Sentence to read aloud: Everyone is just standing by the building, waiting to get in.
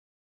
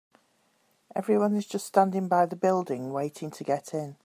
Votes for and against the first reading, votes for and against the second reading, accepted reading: 0, 3, 3, 0, second